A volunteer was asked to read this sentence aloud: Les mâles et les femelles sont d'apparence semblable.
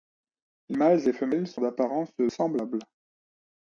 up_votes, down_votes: 0, 2